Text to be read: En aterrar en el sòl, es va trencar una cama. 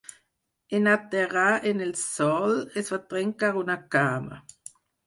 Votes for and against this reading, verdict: 4, 2, accepted